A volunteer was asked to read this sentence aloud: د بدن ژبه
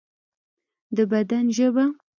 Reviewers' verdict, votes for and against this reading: accepted, 2, 0